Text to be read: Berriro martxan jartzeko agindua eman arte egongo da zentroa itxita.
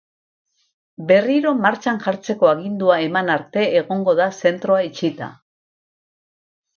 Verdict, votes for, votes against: accepted, 4, 0